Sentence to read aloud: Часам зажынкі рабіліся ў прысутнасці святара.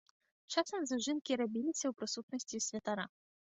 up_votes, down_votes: 2, 0